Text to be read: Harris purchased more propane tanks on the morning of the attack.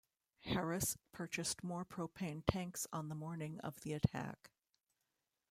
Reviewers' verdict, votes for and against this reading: rejected, 0, 2